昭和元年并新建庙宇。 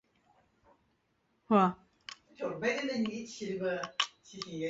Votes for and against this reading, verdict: 0, 2, rejected